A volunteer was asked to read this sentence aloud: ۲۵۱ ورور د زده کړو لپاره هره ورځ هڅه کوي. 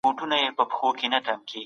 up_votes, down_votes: 0, 2